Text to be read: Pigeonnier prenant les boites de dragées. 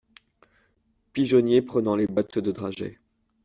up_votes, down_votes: 2, 0